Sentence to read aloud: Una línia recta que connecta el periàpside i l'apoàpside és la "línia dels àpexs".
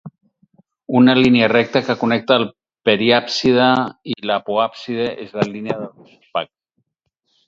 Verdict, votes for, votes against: rejected, 0, 4